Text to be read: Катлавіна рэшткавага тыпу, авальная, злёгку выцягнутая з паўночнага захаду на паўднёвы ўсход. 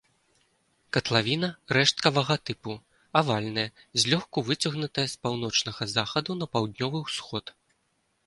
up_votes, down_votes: 2, 0